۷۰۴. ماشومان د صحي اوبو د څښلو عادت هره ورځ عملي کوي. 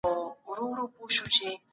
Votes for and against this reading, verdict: 0, 2, rejected